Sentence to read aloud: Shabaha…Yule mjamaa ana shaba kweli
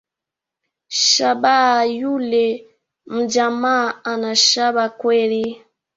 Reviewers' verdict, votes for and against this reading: accepted, 2, 0